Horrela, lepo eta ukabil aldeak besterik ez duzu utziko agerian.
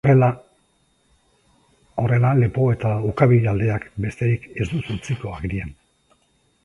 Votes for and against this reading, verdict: 1, 2, rejected